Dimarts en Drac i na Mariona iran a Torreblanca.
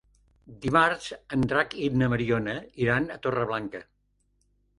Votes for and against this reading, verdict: 3, 0, accepted